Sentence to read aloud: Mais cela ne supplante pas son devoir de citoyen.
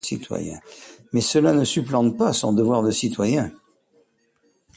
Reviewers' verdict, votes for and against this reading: rejected, 1, 2